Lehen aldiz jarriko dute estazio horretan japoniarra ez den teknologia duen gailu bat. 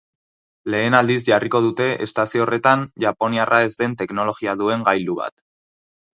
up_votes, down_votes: 2, 2